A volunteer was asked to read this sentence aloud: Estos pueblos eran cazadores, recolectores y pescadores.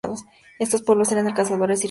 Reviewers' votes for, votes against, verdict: 0, 4, rejected